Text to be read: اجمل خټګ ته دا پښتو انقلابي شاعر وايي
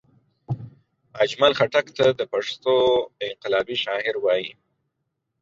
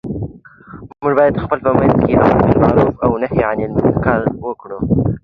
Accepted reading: first